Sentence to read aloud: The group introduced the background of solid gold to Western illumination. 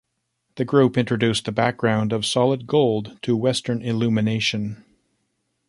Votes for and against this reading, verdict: 2, 1, accepted